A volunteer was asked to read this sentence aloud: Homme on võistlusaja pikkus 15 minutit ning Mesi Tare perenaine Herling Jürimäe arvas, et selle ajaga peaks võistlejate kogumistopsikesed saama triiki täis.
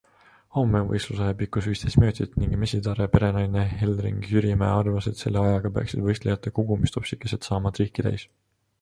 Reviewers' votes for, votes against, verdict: 0, 2, rejected